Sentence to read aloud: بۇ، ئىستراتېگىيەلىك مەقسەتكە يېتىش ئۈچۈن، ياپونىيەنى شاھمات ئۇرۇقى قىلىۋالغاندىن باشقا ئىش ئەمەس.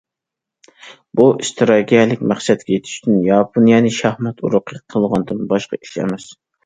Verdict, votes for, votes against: rejected, 0, 2